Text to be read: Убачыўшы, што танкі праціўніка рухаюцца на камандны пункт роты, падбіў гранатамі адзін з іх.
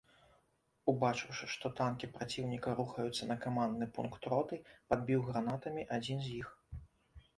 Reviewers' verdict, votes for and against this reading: accepted, 2, 0